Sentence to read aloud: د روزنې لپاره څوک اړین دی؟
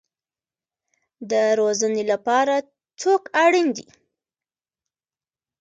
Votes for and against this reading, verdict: 1, 2, rejected